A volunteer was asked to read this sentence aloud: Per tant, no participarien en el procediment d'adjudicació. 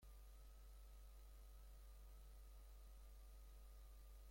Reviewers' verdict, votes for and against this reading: rejected, 0, 2